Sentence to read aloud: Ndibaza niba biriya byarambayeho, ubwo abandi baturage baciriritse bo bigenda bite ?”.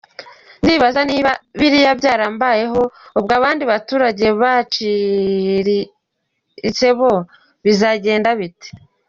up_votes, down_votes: 0, 2